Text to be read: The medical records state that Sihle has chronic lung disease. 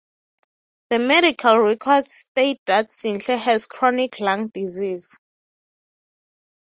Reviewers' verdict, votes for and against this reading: rejected, 3, 3